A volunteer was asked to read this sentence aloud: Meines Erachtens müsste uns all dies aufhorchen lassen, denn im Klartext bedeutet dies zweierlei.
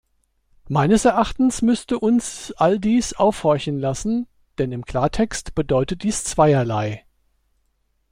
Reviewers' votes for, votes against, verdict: 2, 0, accepted